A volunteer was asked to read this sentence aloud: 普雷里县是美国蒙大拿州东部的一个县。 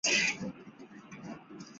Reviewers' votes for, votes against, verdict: 3, 0, accepted